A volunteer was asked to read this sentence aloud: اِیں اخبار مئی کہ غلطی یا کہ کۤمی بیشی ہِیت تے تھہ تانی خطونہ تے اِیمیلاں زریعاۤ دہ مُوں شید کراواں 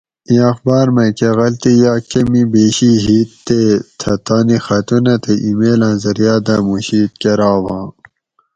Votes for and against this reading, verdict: 2, 2, rejected